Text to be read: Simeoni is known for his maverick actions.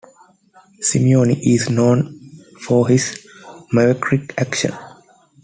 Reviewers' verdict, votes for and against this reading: rejected, 0, 2